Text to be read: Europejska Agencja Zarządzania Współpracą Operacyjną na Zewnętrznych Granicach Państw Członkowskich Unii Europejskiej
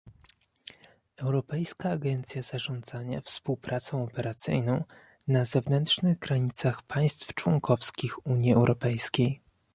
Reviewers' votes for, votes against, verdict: 1, 2, rejected